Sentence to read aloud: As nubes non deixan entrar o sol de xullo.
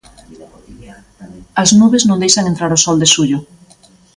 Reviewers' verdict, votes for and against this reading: accepted, 2, 0